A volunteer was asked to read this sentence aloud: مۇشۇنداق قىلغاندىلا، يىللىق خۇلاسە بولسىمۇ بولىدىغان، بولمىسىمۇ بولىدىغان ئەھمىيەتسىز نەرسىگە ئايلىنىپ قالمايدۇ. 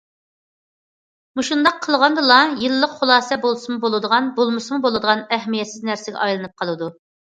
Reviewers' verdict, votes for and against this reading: rejected, 0, 2